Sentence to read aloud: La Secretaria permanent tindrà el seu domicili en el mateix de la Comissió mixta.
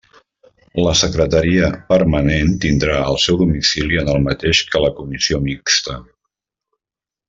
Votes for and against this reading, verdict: 0, 2, rejected